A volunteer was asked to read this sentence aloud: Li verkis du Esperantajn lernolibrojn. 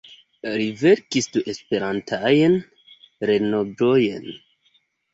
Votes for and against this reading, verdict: 1, 2, rejected